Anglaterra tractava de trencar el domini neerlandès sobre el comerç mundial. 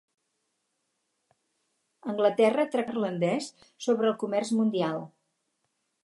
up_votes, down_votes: 0, 4